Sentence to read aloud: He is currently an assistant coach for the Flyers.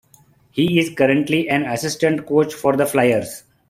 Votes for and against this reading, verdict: 2, 0, accepted